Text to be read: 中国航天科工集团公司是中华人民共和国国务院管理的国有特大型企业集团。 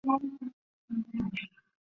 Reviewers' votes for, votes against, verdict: 0, 2, rejected